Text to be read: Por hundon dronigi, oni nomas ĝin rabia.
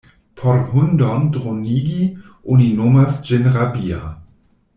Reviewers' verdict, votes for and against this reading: accepted, 2, 0